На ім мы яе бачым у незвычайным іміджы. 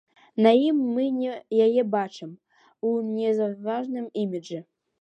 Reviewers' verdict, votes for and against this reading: rejected, 1, 2